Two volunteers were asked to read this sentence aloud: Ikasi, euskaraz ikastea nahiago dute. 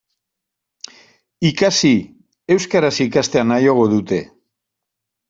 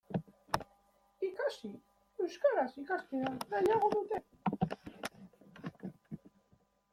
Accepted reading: first